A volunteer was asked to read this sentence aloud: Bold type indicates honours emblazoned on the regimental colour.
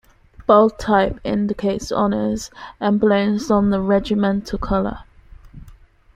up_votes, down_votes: 1, 2